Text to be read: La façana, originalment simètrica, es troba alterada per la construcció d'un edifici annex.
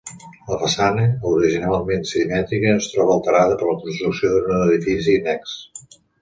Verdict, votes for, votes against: accepted, 2, 0